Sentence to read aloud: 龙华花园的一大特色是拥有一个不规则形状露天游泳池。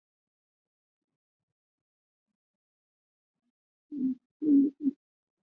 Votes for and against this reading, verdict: 0, 2, rejected